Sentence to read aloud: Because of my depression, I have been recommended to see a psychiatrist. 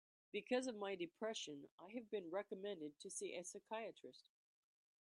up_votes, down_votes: 2, 0